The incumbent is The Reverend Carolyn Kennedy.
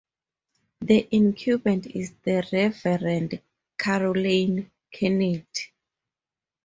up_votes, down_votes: 0, 2